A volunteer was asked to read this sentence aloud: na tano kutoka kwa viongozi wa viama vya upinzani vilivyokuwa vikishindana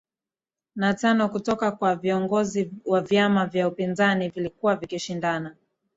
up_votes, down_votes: 20, 0